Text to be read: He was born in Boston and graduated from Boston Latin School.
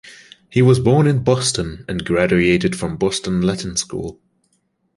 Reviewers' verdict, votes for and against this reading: accepted, 2, 1